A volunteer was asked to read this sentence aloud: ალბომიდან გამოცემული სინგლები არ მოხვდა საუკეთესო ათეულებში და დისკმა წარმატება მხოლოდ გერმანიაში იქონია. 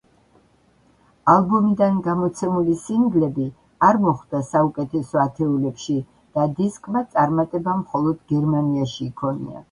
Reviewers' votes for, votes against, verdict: 2, 0, accepted